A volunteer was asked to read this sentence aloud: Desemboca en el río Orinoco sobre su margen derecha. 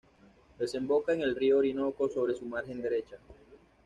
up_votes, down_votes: 2, 0